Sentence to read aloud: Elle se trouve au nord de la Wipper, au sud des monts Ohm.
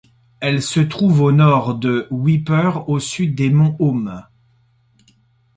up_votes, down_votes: 1, 2